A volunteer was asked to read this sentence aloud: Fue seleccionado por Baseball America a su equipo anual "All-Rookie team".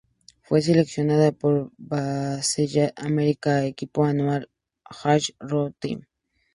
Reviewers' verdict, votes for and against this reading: accepted, 2, 0